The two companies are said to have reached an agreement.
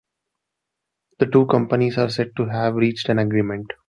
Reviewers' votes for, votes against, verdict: 2, 0, accepted